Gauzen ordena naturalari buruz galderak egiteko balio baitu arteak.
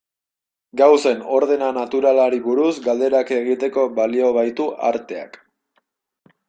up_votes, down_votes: 2, 0